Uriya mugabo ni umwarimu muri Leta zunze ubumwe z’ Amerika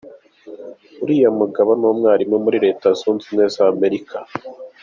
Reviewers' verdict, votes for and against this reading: rejected, 0, 2